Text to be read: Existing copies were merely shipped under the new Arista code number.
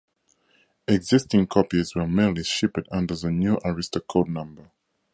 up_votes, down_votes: 0, 2